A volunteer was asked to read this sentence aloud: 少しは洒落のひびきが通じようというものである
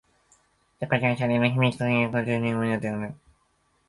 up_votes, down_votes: 0, 2